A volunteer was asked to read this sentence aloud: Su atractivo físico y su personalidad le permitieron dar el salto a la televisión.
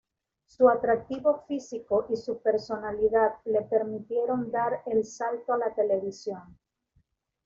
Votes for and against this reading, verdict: 2, 0, accepted